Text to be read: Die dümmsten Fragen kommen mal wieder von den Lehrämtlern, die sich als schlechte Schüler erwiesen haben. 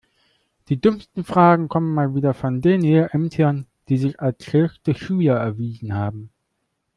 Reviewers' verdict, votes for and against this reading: rejected, 0, 2